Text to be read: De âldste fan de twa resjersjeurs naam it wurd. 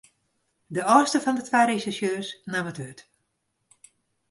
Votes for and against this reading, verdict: 2, 0, accepted